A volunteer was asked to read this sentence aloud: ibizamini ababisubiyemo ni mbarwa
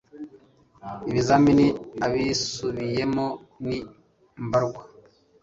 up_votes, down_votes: 1, 2